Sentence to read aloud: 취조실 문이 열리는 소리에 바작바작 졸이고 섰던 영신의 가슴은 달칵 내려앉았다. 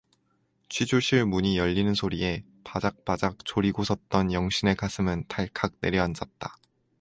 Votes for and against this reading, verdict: 2, 0, accepted